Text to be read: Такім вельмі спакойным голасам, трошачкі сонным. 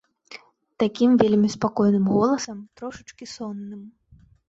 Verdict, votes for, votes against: accepted, 2, 0